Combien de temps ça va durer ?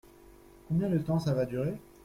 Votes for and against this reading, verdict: 0, 2, rejected